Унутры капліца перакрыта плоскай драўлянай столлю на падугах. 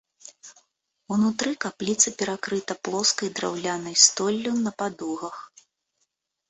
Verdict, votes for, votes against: accepted, 2, 0